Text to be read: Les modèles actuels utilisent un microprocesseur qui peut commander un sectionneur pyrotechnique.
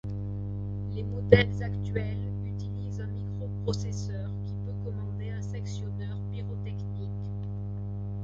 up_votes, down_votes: 1, 2